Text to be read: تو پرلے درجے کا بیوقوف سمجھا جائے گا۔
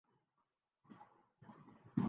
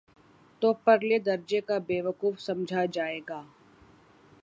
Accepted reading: second